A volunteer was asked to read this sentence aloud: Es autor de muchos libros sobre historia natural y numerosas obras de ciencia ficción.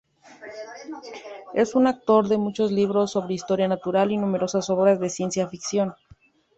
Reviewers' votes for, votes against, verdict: 0, 2, rejected